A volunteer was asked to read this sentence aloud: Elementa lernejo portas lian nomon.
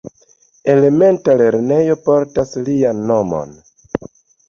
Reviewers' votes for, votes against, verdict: 2, 0, accepted